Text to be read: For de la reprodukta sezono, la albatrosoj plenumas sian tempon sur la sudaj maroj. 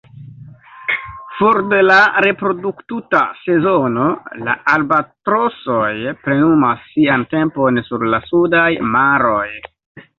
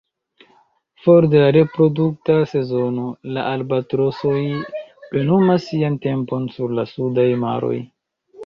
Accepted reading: second